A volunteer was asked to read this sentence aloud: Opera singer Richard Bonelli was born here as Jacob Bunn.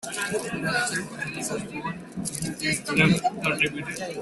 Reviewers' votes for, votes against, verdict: 0, 2, rejected